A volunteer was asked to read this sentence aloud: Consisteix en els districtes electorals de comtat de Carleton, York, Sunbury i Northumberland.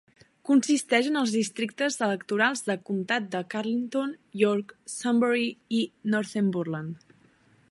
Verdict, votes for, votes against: rejected, 1, 2